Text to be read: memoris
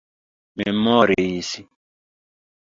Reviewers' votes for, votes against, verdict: 2, 0, accepted